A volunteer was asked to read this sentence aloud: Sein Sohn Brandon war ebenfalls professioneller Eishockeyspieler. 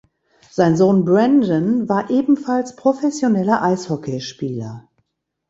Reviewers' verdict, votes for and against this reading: accepted, 2, 0